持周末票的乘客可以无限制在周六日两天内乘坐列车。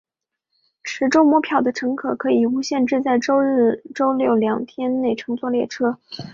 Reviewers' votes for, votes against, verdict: 4, 1, accepted